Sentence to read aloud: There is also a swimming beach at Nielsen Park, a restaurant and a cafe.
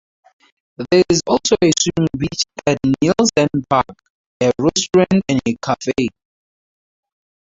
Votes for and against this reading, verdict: 2, 0, accepted